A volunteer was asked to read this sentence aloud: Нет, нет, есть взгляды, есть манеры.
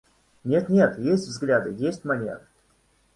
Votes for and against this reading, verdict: 2, 0, accepted